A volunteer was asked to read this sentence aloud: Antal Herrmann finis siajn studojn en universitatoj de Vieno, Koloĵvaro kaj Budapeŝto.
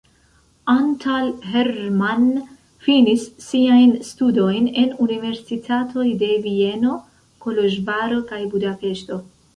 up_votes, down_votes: 1, 2